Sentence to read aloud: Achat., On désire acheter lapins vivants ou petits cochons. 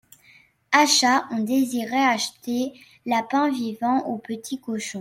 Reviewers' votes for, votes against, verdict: 1, 2, rejected